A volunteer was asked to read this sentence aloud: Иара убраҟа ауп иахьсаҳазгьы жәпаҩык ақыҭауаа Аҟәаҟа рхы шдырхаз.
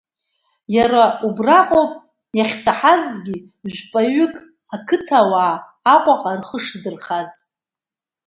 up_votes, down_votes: 1, 2